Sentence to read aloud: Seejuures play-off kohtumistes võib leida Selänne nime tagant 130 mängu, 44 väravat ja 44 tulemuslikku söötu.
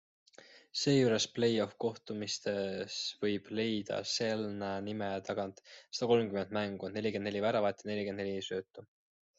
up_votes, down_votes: 0, 2